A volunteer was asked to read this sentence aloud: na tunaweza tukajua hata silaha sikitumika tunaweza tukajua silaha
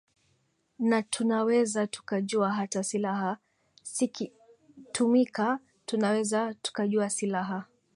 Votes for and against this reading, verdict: 2, 2, rejected